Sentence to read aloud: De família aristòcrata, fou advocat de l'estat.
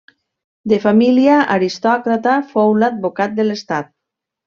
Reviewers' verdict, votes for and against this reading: rejected, 1, 2